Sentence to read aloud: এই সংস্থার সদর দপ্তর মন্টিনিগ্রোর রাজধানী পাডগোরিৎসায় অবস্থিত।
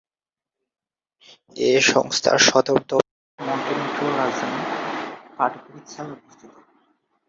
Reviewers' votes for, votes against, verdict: 0, 4, rejected